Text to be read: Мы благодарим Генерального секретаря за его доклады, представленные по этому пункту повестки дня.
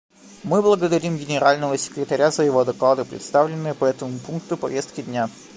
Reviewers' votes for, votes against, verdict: 0, 2, rejected